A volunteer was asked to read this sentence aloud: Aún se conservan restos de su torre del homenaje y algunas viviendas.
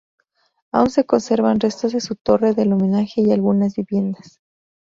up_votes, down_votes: 0, 2